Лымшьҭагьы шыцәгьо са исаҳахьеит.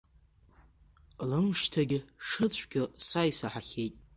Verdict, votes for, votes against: accepted, 2, 1